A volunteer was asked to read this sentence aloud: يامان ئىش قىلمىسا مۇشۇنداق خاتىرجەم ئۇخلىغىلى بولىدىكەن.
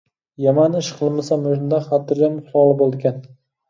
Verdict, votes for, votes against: rejected, 1, 2